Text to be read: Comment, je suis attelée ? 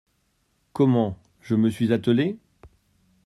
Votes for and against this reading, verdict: 0, 2, rejected